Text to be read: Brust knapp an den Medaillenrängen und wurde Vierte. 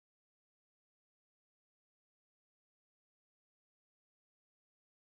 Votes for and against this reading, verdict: 0, 4, rejected